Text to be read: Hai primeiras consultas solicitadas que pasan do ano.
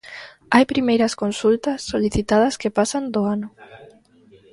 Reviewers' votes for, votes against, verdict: 2, 0, accepted